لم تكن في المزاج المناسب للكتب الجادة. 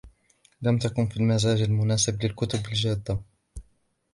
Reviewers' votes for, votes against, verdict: 2, 0, accepted